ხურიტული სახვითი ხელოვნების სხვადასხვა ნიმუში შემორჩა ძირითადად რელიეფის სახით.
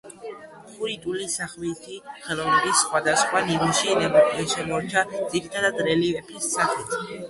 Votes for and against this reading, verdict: 1, 2, rejected